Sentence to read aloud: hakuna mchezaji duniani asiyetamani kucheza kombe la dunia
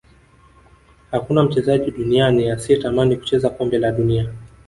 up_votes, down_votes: 1, 2